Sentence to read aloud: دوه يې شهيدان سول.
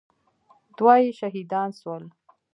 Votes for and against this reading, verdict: 3, 0, accepted